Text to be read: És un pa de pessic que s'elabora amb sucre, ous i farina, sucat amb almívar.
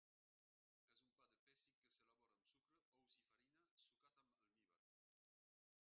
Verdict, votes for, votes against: rejected, 0, 2